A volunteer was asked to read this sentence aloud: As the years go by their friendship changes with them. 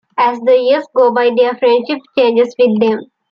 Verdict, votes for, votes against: accepted, 3, 0